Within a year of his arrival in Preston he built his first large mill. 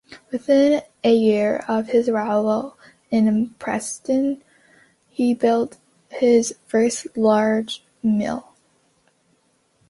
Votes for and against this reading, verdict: 2, 1, accepted